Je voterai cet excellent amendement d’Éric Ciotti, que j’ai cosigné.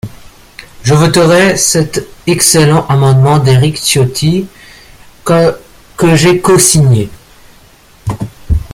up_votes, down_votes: 1, 2